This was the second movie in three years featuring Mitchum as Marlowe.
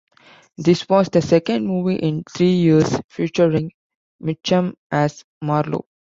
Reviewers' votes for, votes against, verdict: 0, 2, rejected